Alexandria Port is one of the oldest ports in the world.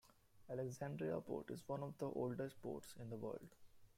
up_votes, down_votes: 2, 1